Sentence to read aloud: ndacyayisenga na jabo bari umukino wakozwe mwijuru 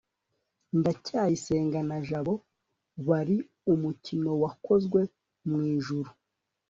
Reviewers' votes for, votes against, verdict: 2, 0, accepted